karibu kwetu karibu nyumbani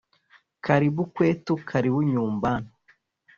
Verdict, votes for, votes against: rejected, 1, 2